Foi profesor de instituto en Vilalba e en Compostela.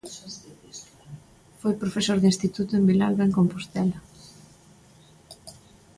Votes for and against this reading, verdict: 2, 0, accepted